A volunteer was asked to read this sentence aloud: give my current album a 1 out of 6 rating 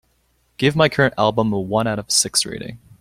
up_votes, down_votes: 0, 2